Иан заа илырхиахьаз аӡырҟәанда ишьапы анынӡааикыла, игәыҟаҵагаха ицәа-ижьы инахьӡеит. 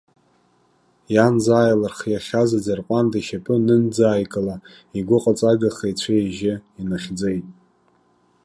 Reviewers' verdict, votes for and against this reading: accepted, 3, 0